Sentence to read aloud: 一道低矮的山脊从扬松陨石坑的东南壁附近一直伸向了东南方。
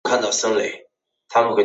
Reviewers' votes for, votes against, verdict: 0, 3, rejected